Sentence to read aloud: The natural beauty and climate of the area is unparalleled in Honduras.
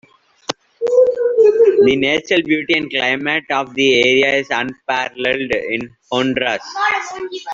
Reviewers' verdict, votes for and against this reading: rejected, 0, 2